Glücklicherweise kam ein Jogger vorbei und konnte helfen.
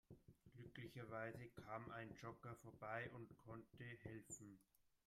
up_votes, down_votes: 0, 2